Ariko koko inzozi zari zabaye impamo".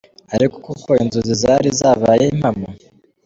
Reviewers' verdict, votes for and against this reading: accepted, 2, 0